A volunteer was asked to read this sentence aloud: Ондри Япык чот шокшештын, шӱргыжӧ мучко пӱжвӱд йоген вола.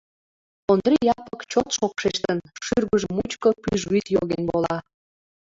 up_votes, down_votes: 2, 0